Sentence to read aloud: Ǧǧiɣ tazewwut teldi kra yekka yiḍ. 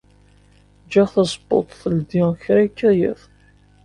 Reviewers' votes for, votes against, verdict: 2, 1, accepted